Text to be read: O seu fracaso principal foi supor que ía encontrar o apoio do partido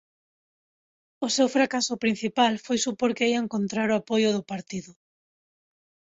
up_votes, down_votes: 2, 0